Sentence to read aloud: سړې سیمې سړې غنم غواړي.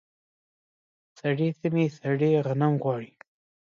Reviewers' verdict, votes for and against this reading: accepted, 2, 0